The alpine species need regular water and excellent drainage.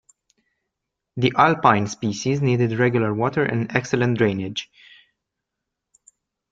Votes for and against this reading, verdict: 1, 2, rejected